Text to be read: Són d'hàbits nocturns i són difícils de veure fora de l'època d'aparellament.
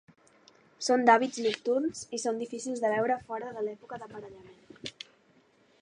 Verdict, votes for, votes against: accepted, 2, 0